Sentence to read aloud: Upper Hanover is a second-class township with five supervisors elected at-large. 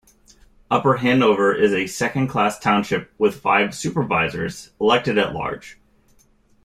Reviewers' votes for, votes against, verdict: 2, 0, accepted